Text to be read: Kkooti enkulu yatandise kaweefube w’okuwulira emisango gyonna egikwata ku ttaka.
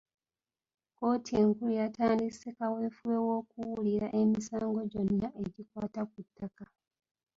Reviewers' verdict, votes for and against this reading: rejected, 0, 2